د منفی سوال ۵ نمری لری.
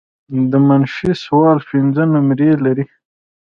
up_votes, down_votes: 0, 2